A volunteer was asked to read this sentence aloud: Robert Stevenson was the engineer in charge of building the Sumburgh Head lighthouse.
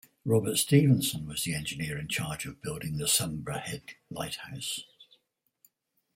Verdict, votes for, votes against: rejected, 2, 4